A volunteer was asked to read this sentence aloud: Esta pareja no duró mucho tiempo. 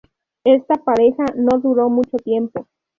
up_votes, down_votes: 0, 2